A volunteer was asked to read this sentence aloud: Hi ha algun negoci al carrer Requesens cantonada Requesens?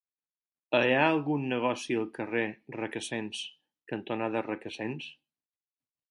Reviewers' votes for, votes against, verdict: 4, 0, accepted